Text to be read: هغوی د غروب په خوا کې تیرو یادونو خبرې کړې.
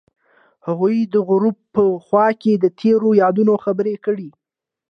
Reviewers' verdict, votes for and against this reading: accepted, 2, 1